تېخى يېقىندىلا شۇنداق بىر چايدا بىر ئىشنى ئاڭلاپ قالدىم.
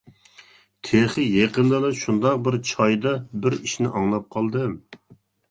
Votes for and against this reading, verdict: 2, 0, accepted